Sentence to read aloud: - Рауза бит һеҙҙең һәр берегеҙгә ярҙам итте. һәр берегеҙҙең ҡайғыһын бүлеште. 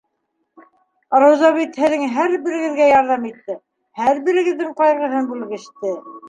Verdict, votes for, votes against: rejected, 1, 2